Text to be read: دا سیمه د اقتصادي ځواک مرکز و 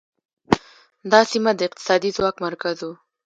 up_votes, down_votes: 2, 1